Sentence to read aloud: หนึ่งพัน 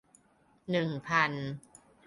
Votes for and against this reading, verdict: 3, 1, accepted